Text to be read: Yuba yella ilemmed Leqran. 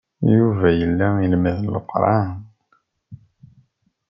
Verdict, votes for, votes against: accepted, 2, 0